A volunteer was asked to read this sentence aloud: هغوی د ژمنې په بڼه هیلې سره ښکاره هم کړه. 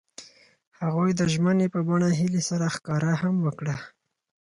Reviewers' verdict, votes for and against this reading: accepted, 4, 0